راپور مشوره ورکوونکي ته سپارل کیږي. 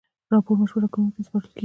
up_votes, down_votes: 2, 0